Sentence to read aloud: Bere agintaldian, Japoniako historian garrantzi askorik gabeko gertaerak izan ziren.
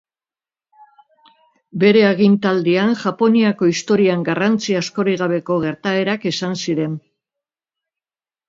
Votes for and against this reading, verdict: 3, 1, accepted